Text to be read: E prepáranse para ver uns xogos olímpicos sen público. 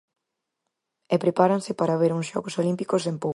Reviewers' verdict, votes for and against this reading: rejected, 0, 4